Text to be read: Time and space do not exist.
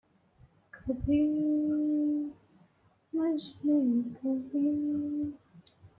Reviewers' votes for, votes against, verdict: 0, 2, rejected